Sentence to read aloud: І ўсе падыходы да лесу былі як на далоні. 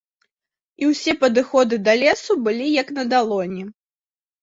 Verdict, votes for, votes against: accepted, 2, 0